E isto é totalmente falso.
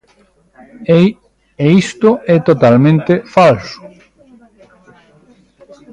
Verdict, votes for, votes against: rejected, 0, 2